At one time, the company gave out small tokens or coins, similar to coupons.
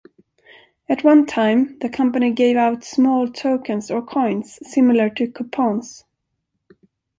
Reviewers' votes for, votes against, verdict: 3, 0, accepted